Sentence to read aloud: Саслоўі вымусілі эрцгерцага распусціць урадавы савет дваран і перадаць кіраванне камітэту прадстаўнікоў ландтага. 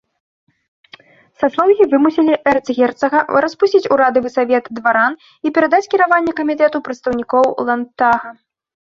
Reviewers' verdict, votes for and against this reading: accepted, 2, 0